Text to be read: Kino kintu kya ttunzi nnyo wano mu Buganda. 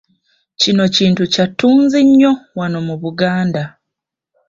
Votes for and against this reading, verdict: 1, 2, rejected